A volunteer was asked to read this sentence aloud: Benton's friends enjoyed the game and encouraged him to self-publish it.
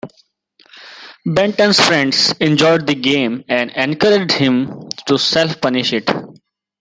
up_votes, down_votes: 1, 2